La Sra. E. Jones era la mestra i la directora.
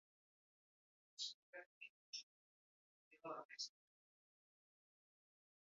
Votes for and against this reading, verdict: 0, 4, rejected